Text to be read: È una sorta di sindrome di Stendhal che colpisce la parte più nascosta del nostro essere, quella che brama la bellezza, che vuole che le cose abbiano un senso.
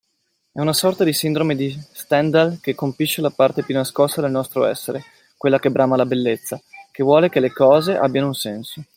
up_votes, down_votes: 2, 1